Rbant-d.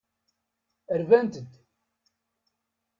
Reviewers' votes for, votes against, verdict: 2, 0, accepted